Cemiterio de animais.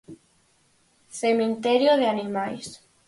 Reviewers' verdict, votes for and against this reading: rejected, 0, 4